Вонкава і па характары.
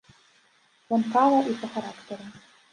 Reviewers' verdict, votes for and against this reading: rejected, 0, 2